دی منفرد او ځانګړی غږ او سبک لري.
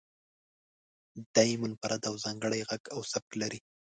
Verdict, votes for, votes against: accepted, 2, 0